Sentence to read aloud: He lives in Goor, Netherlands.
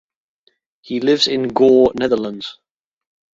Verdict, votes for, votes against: accepted, 2, 0